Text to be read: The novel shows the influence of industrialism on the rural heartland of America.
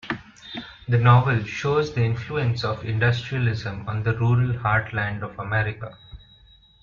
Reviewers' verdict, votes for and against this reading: accepted, 2, 0